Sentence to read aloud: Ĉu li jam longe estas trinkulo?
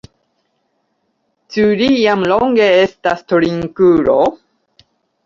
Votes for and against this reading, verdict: 2, 1, accepted